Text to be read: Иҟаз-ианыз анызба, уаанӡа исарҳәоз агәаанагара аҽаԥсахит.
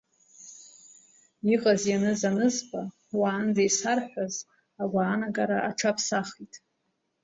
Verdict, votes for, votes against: accepted, 2, 0